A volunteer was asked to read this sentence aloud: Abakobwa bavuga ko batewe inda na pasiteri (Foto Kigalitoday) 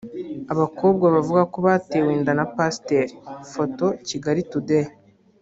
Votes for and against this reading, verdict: 1, 2, rejected